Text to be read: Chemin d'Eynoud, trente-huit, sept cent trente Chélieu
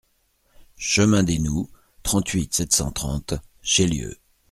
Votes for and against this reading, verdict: 2, 0, accepted